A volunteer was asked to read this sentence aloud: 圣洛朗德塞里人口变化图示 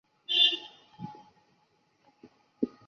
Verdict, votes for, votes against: rejected, 1, 3